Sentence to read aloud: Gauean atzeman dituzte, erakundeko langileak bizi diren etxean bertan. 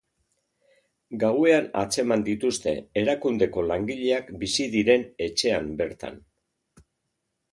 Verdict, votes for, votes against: accepted, 2, 0